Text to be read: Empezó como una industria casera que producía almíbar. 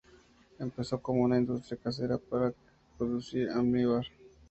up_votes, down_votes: 0, 4